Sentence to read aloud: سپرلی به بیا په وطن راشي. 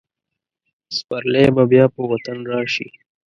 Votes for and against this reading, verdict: 2, 0, accepted